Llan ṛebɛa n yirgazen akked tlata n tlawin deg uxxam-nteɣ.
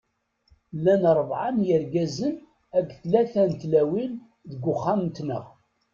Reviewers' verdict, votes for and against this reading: rejected, 1, 2